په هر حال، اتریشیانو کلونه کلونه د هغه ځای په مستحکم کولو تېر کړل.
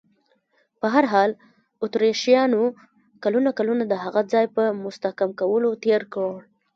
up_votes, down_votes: 0, 2